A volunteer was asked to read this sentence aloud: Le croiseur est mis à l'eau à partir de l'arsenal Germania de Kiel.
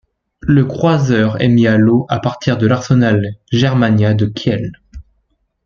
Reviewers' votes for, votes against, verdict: 2, 0, accepted